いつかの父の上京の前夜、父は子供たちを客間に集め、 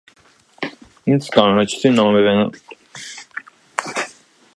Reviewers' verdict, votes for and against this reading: rejected, 0, 2